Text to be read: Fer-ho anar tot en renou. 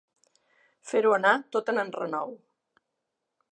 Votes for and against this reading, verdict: 1, 2, rejected